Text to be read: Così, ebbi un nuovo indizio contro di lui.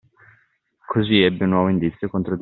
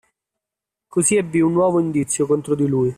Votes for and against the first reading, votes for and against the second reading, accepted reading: 0, 2, 2, 1, second